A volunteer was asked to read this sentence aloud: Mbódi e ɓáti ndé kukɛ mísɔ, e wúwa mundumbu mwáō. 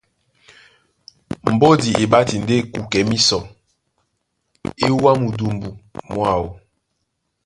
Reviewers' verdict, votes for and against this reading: accepted, 2, 0